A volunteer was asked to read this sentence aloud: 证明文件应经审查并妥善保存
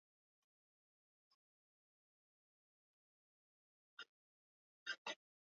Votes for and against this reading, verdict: 0, 3, rejected